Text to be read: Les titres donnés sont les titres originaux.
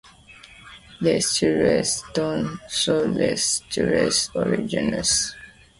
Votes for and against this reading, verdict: 1, 2, rejected